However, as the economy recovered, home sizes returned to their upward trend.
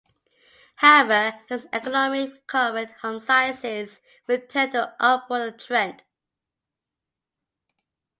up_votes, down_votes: 0, 2